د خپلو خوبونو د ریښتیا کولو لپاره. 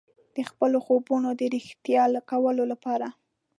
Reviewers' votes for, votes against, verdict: 3, 2, accepted